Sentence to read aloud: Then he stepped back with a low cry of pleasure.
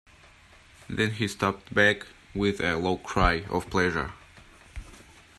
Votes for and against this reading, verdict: 1, 2, rejected